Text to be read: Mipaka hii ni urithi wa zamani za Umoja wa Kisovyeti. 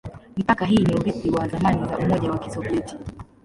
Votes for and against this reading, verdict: 1, 2, rejected